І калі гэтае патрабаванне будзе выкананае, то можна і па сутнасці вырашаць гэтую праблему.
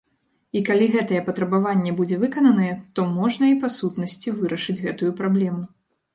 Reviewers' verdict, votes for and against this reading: rejected, 1, 2